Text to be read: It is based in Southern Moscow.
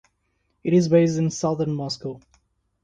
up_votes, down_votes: 2, 0